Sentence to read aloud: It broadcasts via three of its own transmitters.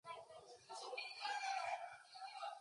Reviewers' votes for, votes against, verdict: 0, 2, rejected